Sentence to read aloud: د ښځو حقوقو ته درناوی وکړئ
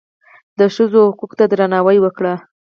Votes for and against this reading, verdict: 2, 4, rejected